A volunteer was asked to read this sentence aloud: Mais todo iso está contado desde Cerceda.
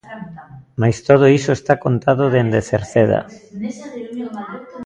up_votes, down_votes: 0, 2